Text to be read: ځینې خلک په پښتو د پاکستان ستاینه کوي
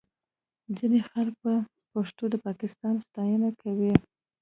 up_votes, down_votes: 2, 0